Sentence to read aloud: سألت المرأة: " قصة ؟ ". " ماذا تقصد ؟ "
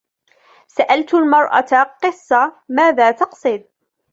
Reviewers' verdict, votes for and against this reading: accepted, 2, 0